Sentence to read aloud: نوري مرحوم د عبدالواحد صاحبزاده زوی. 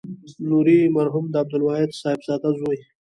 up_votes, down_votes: 2, 1